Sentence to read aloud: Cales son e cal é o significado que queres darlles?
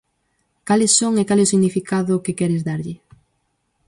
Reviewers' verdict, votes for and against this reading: rejected, 2, 2